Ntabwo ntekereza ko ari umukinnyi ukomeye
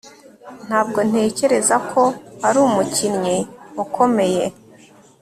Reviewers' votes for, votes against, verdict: 3, 0, accepted